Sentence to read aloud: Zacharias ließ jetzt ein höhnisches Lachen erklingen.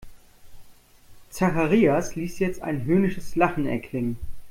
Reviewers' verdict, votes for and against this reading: accepted, 2, 0